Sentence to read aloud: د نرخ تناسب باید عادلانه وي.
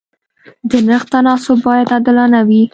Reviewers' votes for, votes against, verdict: 2, 0, accepted